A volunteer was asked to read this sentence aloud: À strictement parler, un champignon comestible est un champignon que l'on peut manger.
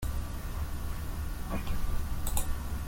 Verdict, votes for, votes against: rejected, 0, 2